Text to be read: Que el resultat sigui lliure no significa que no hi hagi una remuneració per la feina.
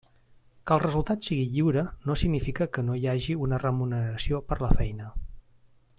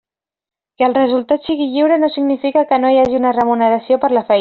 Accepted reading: first